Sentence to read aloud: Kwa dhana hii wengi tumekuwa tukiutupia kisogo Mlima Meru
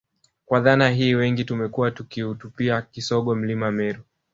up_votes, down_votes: 2, 0